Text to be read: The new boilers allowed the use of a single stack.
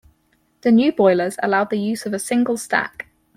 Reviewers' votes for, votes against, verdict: 4, 0, accepted